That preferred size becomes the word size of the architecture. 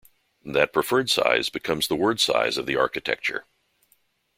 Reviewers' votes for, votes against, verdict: 2, 0, accepted